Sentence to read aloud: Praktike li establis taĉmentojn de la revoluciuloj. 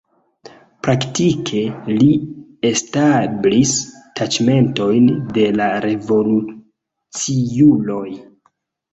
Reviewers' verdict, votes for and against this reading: accepted, 2, 1